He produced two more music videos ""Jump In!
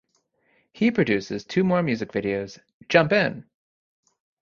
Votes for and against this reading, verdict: 0, 2, rejected